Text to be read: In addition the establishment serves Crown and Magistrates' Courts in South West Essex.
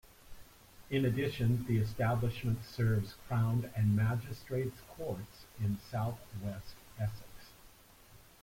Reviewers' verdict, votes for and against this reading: accepted, 3, 0